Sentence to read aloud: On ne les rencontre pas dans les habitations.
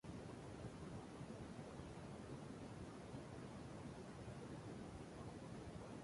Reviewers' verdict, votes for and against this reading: rejected, 0, 2